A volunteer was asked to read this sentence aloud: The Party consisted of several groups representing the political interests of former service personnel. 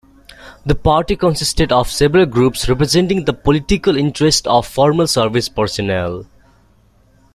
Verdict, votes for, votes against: accepted, 2, 0